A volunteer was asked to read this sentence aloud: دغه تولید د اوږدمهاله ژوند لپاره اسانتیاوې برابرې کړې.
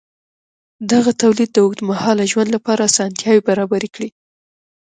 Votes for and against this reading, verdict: 2, 1, accepted